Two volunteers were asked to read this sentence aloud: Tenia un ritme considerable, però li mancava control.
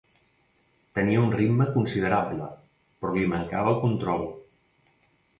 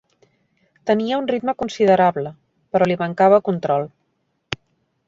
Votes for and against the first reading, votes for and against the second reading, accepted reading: 0, 2, 3, 1, second